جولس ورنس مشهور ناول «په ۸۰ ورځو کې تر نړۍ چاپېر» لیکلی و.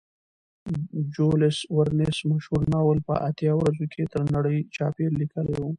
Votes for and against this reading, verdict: 0, 2, rejected